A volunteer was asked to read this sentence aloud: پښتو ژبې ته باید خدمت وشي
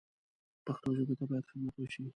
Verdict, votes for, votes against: rejected, 0, 2